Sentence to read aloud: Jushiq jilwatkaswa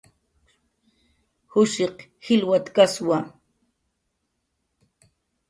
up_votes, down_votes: 1, 2